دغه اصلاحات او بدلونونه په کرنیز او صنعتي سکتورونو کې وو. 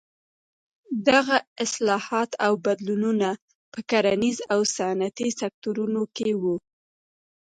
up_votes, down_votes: 2, 0